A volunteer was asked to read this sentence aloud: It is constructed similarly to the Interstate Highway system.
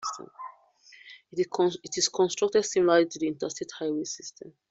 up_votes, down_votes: 0, 2